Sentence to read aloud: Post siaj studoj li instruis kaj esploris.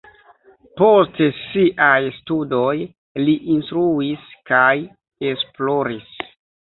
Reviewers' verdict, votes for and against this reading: rejected, 0, 2